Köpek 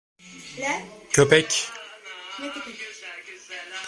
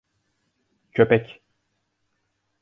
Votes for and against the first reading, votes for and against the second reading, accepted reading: 1, 2, 2, 0, second